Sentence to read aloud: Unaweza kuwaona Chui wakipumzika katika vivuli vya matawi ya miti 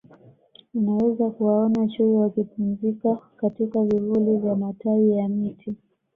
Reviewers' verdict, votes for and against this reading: accepted, 2, 0